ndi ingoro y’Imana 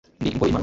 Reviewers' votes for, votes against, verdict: 1, 2, rejected